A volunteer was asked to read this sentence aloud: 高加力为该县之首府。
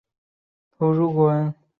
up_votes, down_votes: 1, 3